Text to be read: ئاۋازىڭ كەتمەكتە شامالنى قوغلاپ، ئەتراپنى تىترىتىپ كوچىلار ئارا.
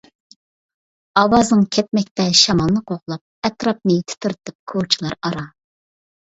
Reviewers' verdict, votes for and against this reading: accepted, 2, 0